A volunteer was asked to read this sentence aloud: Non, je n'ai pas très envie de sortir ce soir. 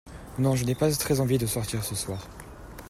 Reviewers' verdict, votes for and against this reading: rejected, 1, 2